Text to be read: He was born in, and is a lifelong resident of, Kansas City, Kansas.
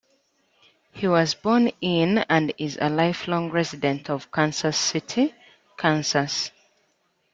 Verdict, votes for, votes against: accepted, 2, 0